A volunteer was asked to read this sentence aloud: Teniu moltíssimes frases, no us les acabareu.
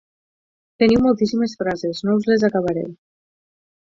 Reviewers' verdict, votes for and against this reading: rejected, 0, 4